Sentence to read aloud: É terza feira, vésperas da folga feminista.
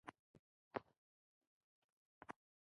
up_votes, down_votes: 0, 2